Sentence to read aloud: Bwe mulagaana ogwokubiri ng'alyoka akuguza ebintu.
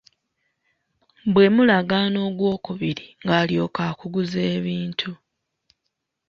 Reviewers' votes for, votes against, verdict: 2, 1, accepted